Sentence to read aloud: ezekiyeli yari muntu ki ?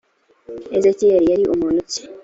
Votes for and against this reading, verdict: 2, 0, accepted